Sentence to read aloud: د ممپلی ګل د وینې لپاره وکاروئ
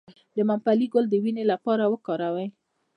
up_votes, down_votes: 1, 2